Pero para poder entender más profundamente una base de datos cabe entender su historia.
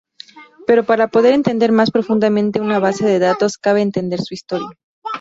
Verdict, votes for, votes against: rejected, 0, 4